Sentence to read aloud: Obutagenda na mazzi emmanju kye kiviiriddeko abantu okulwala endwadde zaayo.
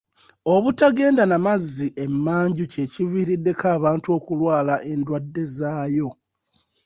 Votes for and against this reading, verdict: 2, 0, accepted